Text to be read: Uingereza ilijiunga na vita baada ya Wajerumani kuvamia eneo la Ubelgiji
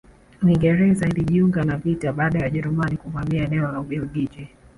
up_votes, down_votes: 1, 2